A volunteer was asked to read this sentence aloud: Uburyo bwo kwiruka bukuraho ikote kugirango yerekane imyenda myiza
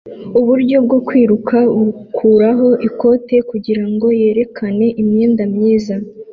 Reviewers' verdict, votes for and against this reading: accepted, 2, 0